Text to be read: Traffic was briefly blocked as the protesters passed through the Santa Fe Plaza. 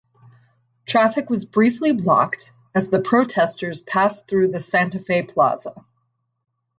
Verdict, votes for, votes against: rejected, 2, 2